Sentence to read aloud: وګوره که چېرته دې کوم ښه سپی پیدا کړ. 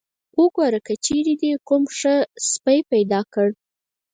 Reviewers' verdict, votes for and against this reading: rejected, 2, 4